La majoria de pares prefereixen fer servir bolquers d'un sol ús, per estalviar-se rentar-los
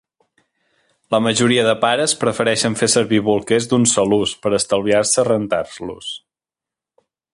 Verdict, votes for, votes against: accepted, 3, 1